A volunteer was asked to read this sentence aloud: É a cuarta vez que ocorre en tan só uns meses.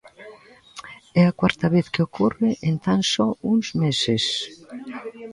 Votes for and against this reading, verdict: 2, 0, accepted